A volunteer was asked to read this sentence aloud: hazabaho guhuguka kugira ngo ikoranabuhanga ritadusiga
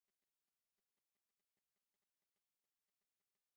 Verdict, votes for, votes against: rejected, 1, 2